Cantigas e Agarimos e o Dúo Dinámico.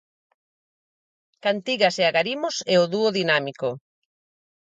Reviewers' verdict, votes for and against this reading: accepted, 4, 0